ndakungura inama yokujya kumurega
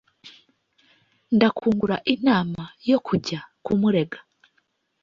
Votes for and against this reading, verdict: 2, 1, accepted